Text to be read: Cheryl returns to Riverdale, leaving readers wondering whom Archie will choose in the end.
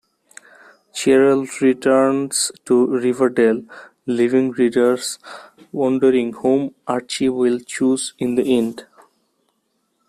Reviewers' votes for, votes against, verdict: 2, 0, accepted